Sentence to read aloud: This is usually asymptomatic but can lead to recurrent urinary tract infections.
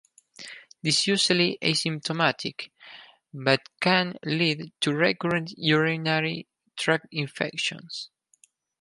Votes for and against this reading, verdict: 0, 4, rejected